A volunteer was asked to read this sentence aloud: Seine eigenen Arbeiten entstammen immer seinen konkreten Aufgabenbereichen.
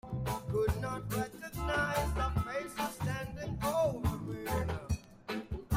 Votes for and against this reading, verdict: 0, 2, rejected